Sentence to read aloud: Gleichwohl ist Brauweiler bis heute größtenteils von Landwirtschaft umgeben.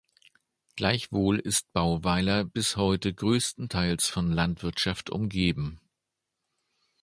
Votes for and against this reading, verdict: 1, 2, rejected